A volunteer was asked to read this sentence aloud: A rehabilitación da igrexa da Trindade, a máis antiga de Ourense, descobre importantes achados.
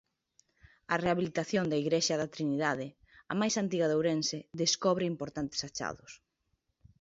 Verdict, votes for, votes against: rejected, 1, 2